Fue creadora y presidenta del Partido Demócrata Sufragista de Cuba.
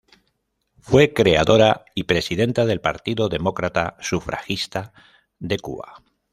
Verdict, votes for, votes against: accepted, 2, 0